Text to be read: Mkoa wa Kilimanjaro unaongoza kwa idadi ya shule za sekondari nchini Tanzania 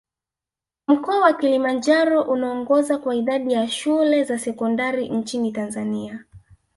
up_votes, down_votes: 1, 2